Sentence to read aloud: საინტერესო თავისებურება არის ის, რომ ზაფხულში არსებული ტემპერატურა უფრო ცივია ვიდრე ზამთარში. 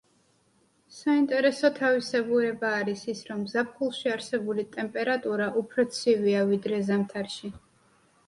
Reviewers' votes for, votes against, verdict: 2, 0, accepted